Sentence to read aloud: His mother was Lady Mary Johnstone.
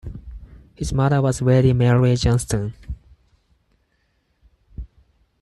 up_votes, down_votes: 0, 4